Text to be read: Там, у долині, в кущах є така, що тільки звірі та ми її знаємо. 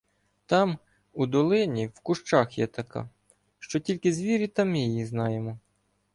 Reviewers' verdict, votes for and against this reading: accepted, 2, 0